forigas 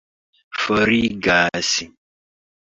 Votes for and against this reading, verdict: 2, 0, accepted